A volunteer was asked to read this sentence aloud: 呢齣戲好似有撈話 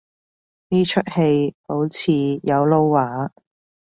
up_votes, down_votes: 3, 2